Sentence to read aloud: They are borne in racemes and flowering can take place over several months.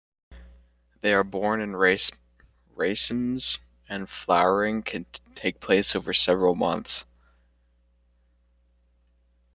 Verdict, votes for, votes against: rejected, 0, 2